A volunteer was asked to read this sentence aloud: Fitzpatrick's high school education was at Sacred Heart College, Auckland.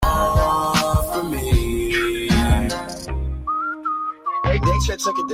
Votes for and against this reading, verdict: 0, 2, rejected